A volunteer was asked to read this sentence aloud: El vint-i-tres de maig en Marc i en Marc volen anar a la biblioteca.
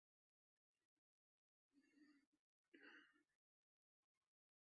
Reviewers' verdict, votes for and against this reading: rejected, 1, 2